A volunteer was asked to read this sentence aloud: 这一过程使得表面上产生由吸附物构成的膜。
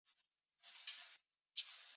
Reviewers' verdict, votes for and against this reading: rejected, 0, 2